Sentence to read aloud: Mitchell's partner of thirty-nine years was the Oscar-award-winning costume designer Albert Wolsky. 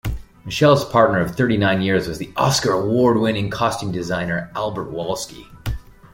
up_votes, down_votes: 1, 2